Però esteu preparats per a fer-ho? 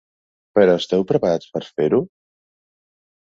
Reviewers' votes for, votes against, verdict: 0, 2, rejected